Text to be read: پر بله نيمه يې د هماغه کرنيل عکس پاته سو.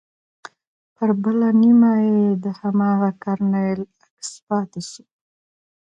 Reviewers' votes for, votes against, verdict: 1, 2, rejected